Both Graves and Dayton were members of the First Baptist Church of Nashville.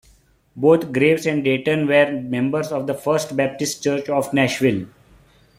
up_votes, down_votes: 2, 0